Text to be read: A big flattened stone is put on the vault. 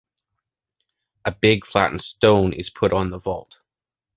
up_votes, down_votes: 2, 1